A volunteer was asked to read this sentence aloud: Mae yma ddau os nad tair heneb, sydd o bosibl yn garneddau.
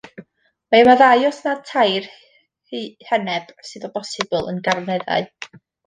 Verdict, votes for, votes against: rejected, 1, 2